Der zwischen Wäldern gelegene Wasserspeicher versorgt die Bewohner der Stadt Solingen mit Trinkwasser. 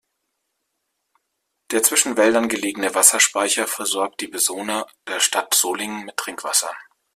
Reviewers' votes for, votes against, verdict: 0, 2, rejected